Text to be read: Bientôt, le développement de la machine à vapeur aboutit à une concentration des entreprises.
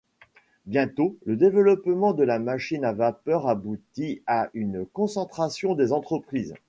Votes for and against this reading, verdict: 2, 0, accepted